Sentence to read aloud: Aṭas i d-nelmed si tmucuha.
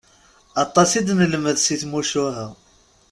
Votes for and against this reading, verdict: 2, 0, accepted